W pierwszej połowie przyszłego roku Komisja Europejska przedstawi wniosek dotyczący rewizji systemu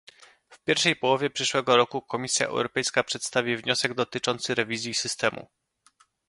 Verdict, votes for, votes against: accepted, 2, 0